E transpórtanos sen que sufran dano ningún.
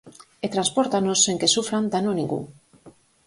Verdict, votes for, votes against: accepted, 4, 0